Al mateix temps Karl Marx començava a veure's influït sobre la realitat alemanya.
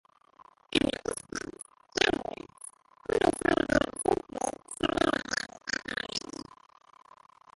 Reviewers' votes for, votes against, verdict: 1, 3, rejected